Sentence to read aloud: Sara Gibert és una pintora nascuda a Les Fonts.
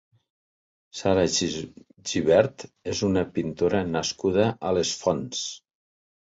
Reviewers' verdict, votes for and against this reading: rejected, 1, 2